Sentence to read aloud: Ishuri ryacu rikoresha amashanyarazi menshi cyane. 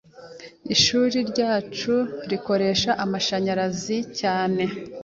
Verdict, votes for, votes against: rejected, 0, 2